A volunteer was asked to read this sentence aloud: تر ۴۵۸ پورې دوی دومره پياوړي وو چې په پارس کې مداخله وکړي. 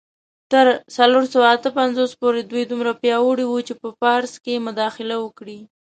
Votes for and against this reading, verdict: 0, 2, rejected